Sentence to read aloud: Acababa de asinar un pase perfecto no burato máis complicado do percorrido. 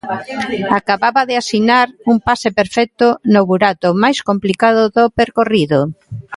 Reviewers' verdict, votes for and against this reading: rejected, 0, 2